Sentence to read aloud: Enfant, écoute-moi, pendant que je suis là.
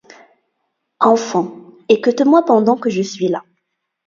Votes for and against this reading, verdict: 2, 0, accepted